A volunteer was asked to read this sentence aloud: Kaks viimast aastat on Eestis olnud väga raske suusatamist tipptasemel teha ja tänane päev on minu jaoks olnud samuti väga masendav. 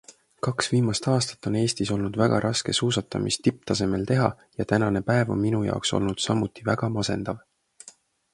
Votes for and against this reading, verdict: 2, 0, accepted